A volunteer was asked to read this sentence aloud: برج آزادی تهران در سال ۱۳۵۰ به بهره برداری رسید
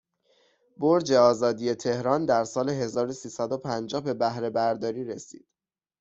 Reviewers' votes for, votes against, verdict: 0, 2, rejected